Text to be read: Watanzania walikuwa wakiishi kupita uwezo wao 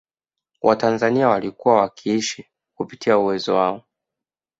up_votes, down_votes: 2, 0